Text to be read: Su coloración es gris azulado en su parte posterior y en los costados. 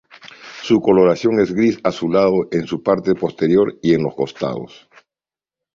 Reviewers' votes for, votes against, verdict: 2, 0, accepted